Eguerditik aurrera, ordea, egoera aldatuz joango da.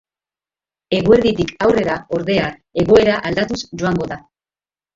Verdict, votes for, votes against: accepted, 2, 0